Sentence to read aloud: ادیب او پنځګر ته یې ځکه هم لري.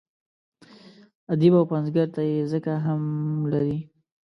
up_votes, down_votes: 1, 2